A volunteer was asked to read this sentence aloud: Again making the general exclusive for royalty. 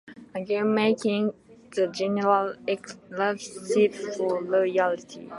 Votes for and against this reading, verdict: 0, 2, rejected